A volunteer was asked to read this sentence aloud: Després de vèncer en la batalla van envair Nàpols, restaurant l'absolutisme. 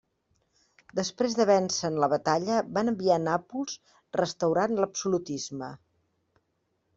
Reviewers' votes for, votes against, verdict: 0, 2, rejected